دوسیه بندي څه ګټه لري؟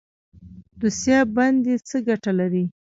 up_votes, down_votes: 1, 2